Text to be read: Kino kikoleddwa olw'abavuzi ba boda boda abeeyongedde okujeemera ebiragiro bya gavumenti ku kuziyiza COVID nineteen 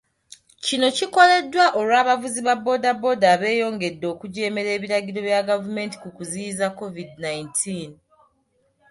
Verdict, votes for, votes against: accepted, 2, 1